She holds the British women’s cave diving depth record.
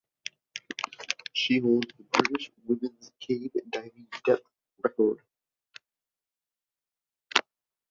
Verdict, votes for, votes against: rejected, 0, 2